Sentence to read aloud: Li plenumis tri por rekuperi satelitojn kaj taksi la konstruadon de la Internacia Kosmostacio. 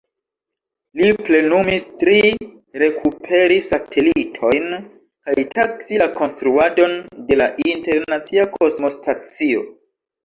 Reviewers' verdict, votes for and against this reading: rejected, 1, 2